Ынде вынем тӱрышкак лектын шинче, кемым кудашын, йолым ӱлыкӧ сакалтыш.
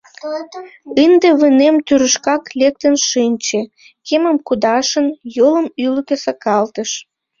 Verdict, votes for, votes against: rejected, 0, 2